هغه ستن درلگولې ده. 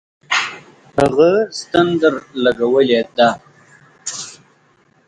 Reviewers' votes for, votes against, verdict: 0, 4, rejected